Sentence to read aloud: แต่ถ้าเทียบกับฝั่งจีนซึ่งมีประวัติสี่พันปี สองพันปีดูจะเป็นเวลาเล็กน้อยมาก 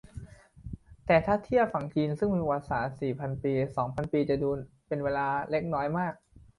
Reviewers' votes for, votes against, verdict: 0, 2, rejected